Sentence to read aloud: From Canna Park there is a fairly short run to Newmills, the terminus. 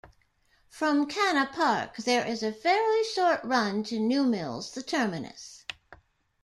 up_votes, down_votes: 0, 2